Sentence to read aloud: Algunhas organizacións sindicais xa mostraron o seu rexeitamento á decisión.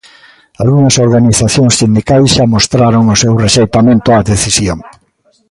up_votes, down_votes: 2, 0